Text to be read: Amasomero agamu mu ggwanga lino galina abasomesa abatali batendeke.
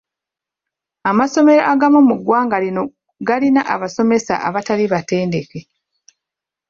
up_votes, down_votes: 2, 1